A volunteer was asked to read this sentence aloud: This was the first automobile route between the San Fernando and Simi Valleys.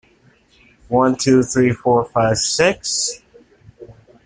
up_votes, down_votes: 0, 2